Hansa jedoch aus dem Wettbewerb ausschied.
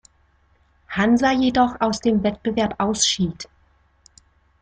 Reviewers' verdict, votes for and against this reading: accepted, 2, 0